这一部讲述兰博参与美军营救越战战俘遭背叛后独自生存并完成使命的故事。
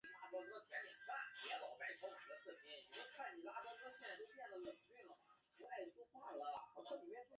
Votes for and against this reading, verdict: 2, 4, rejected